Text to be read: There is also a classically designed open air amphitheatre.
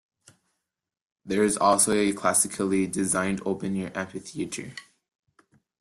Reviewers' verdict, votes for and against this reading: rejected, 0, 2